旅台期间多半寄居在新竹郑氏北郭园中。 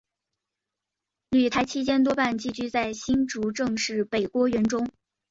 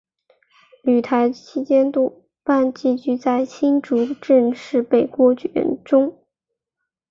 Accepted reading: first